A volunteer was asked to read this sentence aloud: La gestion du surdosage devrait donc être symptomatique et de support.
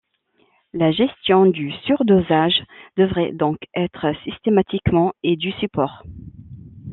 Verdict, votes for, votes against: rejected, 0, 2